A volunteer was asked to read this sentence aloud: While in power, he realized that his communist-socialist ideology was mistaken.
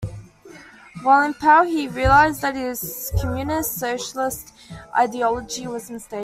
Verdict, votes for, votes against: rejected, 0, 2